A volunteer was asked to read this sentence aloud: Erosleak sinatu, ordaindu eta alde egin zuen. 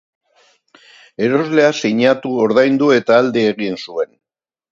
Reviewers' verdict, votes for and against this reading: accepted, 2, 0